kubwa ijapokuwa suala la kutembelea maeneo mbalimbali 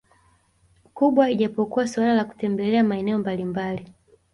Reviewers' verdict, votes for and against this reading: accepted, 2, 0